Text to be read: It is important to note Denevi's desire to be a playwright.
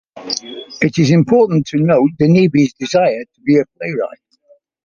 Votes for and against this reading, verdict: 2, 0, accepted